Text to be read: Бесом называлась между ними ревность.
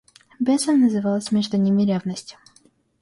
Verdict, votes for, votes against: accepted, 2, 0